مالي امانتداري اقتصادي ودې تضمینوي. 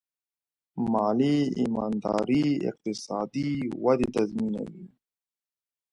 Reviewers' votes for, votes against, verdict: 0, 2, rejected